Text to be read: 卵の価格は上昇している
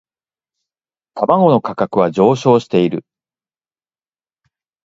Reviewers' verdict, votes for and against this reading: accepted, 2, 0